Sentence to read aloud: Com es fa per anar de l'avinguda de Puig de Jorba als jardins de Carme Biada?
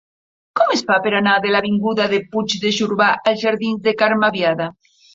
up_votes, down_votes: 1, 2